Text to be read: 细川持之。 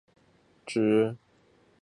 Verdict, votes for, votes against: rejected, 0, 2